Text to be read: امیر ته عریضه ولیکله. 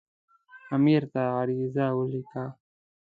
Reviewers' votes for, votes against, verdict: 0, 2, rejected